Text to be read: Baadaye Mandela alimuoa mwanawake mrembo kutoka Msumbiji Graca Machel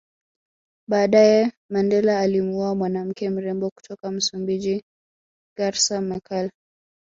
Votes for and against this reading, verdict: 1, 2, rejected